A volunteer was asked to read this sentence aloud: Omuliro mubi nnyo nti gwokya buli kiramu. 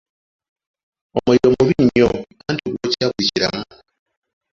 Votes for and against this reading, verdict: 1, 2, rejected